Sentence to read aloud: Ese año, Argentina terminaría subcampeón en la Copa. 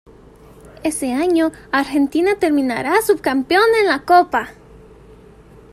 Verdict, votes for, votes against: rejected, 0, 2